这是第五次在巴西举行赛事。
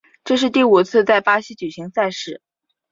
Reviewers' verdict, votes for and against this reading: accepted, 2, 0